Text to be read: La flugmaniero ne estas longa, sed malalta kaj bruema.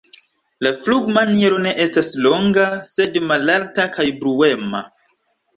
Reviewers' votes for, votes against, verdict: 2, 0, accepted